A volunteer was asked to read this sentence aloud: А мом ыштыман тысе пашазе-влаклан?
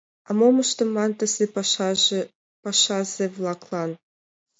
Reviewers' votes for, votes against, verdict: 1, 2, rejected